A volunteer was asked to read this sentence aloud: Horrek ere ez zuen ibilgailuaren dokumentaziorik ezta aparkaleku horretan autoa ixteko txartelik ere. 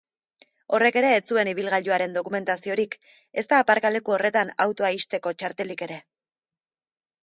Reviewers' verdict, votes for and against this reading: accepted, 2, 0